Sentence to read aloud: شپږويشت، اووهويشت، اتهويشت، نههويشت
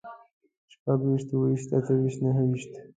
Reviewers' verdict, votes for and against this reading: rejected, 0, 2